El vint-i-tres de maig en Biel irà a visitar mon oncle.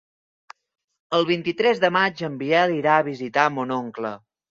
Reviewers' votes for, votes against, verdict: 3, 0, accepted